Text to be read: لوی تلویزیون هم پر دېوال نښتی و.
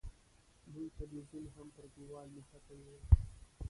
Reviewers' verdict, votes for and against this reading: rejected, 1, 2